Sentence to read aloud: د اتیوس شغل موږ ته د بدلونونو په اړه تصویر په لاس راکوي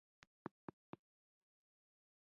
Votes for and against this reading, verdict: 0, 2, rejected